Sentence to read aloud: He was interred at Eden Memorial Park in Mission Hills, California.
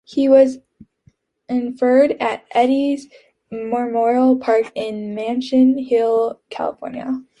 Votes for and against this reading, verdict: 1, 2, rejected